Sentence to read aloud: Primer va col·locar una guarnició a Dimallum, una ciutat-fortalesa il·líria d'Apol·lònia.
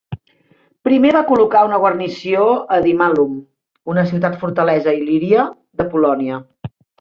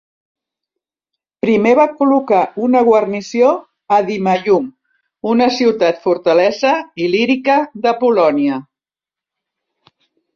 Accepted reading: first